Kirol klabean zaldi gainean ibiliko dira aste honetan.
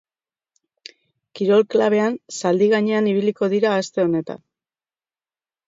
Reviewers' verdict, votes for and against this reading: accepted, 2, 0